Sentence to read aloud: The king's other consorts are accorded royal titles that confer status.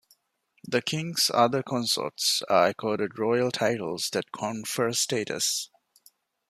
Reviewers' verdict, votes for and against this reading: accepted, 2, 1